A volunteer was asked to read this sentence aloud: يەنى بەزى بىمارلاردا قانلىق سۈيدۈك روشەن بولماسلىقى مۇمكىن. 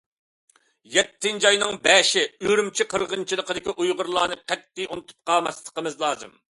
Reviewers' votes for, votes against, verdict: 0, 2, rejected